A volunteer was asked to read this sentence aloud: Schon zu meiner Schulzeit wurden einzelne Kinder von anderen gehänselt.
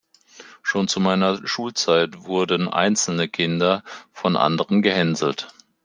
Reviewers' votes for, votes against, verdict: 3, 0, accepted